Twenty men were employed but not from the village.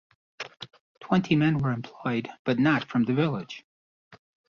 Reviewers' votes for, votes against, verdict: 2, 0, accepted